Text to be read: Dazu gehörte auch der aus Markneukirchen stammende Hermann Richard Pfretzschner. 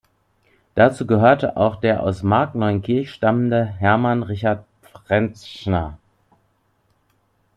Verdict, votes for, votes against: rejected, 0, 2